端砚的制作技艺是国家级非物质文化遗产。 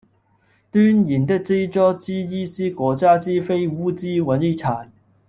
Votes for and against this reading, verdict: 0, 2, rejected